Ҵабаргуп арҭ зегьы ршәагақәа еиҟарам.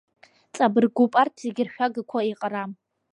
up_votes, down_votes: 1, 2